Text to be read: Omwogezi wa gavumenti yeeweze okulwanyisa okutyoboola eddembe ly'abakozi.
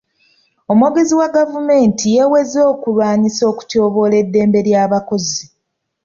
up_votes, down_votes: 2, 0